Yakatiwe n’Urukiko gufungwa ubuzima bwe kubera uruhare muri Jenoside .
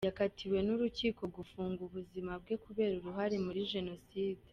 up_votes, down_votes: 2, 1